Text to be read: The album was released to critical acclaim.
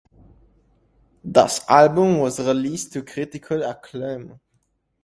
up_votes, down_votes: 0, 2